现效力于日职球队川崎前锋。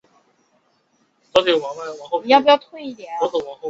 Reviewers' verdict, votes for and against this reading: rejected, 0, 2